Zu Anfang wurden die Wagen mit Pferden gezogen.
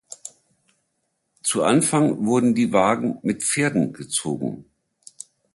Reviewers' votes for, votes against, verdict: 2, 0, accepted